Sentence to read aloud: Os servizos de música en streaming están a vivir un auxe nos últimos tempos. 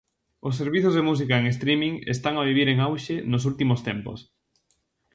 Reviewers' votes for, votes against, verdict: 0, 2, rejected